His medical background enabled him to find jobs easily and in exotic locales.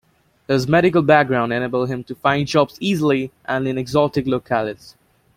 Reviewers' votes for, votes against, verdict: 2, 0, accepted